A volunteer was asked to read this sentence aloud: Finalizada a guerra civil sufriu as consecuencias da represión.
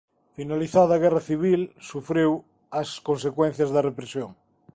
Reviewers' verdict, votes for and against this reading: accepted, 2, 0